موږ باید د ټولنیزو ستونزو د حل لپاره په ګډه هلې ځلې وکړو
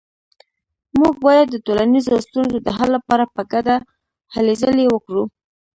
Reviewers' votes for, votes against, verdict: 0, 2, rejected